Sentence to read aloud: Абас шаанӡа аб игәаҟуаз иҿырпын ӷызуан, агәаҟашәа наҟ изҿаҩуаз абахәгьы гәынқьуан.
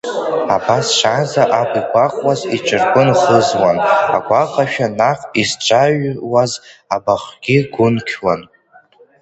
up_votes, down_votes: 1, 2